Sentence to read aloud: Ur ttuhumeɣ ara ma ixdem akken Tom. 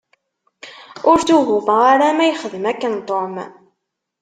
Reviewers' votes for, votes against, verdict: 2, 0, accepted